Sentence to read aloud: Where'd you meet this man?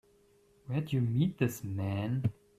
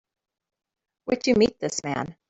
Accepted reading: first